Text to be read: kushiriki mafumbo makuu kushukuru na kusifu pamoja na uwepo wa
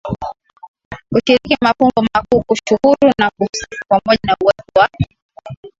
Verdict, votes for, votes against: accepted, 3, 2